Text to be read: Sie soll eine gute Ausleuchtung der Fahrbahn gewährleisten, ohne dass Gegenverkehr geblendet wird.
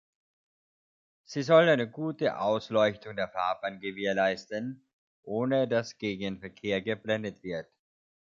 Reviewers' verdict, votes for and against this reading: accepted, 2, 0